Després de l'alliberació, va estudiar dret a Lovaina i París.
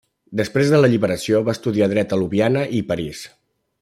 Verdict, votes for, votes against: rejected, 0, 2